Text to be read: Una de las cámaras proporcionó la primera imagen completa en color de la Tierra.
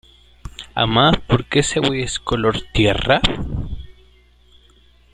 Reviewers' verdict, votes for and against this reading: rejected, 0, 2